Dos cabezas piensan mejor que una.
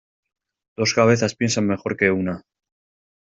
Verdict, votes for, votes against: accepted, 2, 0